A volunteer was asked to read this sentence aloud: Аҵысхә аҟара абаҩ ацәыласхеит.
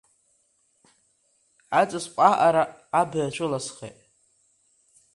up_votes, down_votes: 2, 0